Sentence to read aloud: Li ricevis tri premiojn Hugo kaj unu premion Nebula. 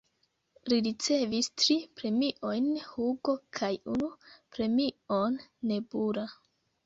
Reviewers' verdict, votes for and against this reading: accepted, 3, 2